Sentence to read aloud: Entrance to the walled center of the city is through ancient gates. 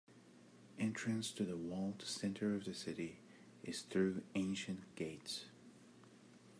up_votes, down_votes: 2, 0